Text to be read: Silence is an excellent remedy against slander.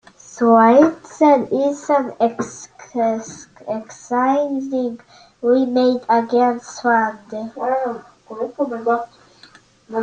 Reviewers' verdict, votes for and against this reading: rejected, 0, 2